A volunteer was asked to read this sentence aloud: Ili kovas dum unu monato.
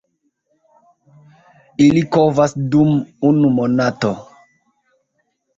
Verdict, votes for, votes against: accepted, 2, 0